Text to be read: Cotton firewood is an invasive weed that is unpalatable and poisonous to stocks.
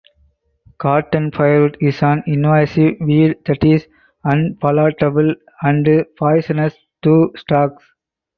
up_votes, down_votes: 2, 4